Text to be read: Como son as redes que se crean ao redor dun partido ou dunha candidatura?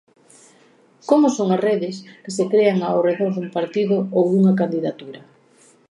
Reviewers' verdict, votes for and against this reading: accepted, 2, 0